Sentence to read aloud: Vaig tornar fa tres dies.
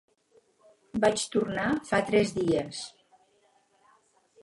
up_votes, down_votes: 0, 4